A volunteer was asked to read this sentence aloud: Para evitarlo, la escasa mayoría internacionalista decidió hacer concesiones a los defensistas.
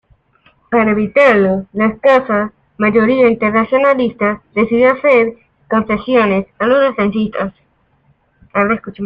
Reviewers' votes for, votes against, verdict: 2, 0, accepted